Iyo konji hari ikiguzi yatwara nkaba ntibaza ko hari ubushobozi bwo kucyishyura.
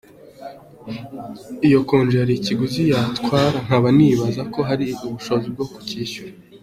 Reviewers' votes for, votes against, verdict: 2, 0, accepted